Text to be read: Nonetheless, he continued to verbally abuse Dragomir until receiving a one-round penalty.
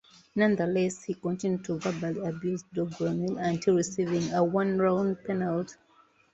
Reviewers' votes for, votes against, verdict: 0, 2, rejected